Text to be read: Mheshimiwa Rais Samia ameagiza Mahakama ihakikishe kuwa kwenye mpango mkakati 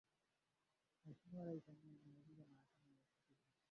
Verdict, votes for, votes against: rejected, 0, 2